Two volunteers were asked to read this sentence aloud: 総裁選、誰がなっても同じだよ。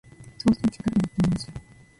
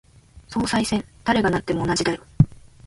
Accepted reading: second